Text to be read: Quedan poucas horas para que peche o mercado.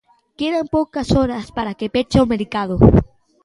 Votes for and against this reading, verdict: 1, 2, rejected